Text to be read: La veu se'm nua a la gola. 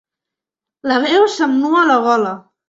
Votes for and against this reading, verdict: 3, 0, accepted